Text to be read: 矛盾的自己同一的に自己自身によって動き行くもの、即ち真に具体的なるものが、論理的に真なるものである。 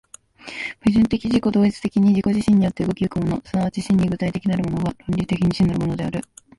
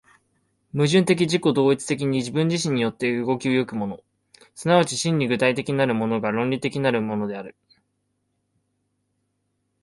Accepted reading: first